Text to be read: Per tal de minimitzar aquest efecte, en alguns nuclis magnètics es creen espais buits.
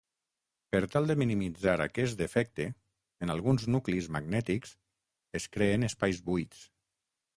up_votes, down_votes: 3, 6